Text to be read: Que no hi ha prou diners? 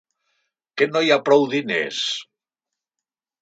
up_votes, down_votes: 3, 0